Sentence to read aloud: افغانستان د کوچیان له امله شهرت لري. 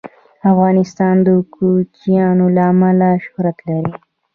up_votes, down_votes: 0, 2